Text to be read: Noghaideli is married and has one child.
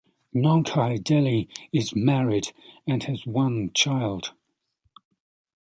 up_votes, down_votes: 2, 0